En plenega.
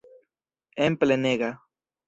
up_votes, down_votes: 2, 0